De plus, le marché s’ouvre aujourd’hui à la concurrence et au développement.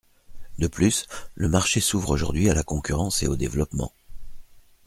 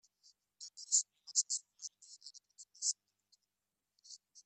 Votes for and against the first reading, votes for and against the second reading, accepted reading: 2, 0, 0, 2, first